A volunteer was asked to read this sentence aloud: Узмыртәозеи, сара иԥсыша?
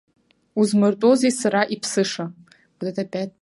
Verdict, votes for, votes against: rejected, 0, 2